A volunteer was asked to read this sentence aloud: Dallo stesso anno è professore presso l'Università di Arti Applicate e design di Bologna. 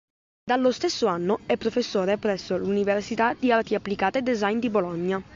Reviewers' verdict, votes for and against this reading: accepted, 2, 0